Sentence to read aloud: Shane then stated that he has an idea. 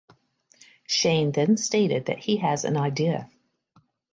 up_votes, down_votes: 2, 0